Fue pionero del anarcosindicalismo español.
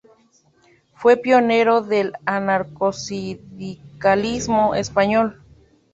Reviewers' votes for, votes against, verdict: 0, 2, rejected